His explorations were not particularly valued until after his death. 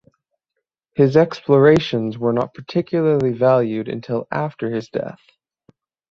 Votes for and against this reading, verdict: 3, 3, rejected